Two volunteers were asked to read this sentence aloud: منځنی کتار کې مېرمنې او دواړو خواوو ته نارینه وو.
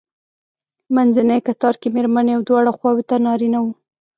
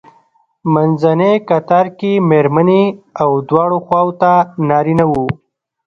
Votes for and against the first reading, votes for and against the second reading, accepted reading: 2, 1, 0, 2, first